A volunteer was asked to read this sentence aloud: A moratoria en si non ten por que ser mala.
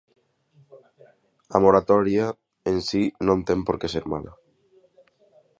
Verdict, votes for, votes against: accepted, 21, 1